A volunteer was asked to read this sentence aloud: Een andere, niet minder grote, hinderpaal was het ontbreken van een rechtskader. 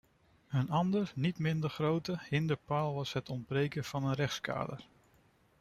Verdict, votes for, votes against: rejected, 1, 2